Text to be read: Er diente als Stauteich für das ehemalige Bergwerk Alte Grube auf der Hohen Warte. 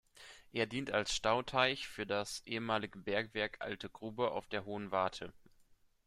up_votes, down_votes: 1, 2